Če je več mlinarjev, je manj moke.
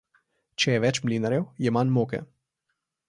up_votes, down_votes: 2, 0